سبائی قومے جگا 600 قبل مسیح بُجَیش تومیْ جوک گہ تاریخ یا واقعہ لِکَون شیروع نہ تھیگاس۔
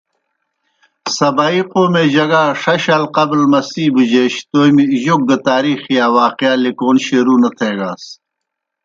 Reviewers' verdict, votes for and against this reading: rejected, 0, 2